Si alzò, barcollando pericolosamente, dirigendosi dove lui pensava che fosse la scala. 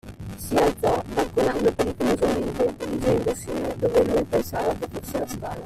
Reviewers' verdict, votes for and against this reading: accepted, 2, 1